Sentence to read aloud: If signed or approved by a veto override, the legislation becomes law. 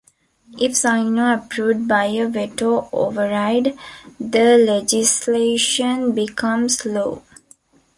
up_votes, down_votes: 2, 0